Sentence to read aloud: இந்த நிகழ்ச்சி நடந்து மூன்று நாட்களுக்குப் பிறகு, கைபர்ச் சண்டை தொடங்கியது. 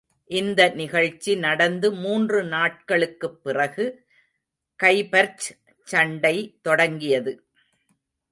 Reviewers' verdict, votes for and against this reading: rejected, 1, 2